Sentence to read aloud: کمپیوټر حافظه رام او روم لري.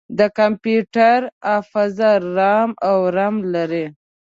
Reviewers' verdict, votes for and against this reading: rejected, 1, 2